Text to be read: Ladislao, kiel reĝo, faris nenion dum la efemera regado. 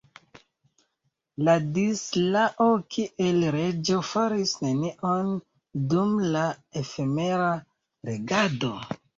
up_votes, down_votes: 2, 0